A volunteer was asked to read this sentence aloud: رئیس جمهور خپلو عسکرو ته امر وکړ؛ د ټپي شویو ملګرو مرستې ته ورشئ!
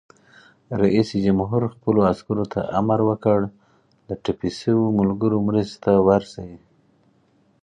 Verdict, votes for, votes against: accepted, 4, 0